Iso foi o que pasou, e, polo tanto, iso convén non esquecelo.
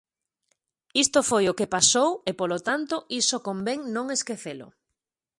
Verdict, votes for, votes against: rejected, 0, 2